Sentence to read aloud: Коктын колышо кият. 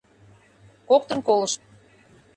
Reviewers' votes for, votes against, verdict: 0, 2, rejected